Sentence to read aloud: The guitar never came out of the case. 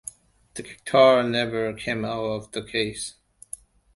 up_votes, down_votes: 2, 1